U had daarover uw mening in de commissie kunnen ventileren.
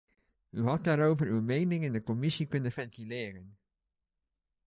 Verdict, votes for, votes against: accepted, 2, 0